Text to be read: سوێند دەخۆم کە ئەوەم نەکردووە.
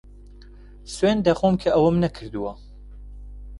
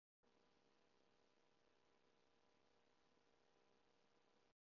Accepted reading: first